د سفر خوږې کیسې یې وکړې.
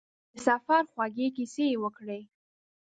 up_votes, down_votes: 2, 0